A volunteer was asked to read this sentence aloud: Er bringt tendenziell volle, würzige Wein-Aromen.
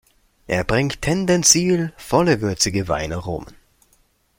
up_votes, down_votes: 0, 2